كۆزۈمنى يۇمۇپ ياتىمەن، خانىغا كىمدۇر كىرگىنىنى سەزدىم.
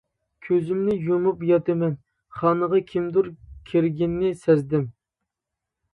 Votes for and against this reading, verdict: 2, 0, accepted